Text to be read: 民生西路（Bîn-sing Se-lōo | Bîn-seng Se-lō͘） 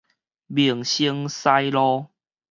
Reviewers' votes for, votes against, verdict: 4, 0, accepted